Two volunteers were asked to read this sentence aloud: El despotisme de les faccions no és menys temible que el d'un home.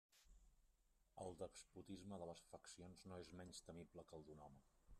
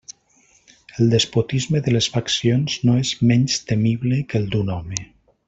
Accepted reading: second